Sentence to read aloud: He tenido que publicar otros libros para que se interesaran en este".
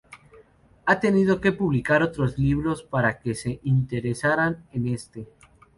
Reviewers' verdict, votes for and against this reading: rejected, 0, 2